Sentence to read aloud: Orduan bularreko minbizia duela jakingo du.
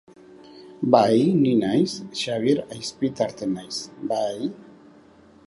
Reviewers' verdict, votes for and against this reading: rejected, 0, 2